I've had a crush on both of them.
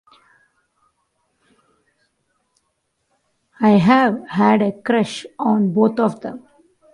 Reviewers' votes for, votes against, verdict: 0, 2, rejected